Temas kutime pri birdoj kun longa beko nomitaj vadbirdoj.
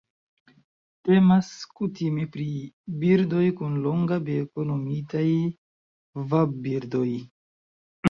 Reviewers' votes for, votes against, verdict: 2, 0, accepted